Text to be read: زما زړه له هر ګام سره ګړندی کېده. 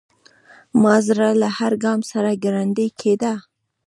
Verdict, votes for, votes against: rejected, 1, 2